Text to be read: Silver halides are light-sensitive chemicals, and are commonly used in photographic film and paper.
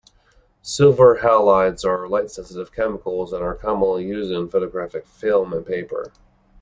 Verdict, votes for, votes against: accepted, 2, 0